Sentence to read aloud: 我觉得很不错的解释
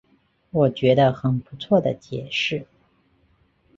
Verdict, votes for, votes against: accepted, 3, 0